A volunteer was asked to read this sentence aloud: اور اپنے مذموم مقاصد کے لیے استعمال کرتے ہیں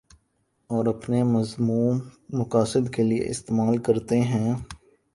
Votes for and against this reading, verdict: 4, 0, accepted